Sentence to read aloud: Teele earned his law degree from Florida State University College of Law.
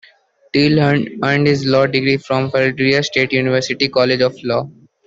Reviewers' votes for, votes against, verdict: 0, 2, rejected